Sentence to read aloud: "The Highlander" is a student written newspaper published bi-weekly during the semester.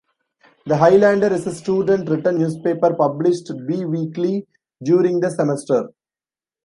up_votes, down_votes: 1, 2